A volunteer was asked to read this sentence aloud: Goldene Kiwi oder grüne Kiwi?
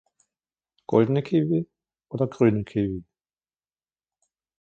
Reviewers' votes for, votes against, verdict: 2, 1, accepted